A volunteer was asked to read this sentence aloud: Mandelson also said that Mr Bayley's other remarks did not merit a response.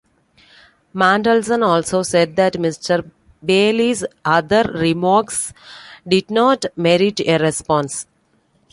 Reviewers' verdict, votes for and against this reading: accepted, 2, 1